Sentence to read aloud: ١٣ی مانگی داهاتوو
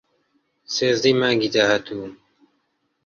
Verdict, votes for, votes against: rejected, 0, 2